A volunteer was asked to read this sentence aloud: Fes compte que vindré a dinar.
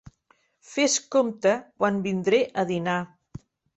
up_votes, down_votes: 1, 2